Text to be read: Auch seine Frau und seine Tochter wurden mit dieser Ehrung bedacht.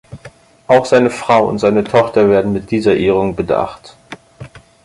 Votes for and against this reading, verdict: 0, 4, rejected